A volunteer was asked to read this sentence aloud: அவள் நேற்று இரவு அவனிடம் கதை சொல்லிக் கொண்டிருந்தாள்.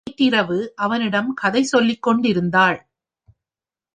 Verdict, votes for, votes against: rejected, 1, 2